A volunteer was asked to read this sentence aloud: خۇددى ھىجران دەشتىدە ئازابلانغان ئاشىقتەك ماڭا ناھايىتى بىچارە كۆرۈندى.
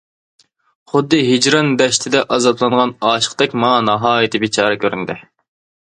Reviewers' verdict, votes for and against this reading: accepted, 2, 0